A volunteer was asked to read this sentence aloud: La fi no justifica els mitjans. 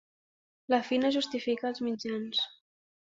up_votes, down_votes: 2, 0